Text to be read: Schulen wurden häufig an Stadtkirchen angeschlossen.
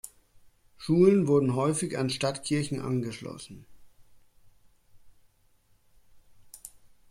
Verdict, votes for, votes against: accepted, 2, 0